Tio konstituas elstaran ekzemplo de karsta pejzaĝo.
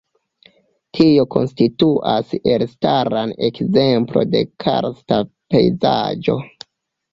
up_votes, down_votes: 0, 2